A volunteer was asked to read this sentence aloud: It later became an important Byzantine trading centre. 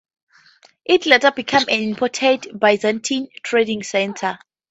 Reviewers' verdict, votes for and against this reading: rejected, 0, 2